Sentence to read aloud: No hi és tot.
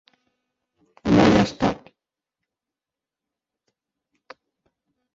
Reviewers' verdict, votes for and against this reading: rejected, 0, 2